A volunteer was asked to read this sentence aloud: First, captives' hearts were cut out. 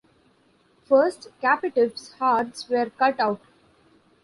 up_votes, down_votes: 1, 2